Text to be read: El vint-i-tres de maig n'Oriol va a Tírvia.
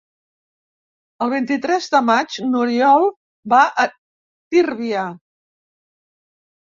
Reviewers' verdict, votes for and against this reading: accepted, 3, 0